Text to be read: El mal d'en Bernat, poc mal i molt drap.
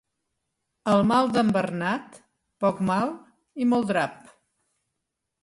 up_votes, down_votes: 2, 0